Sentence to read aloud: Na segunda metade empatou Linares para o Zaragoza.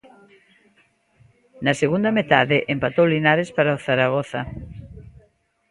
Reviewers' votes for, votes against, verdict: 2, 0, accepted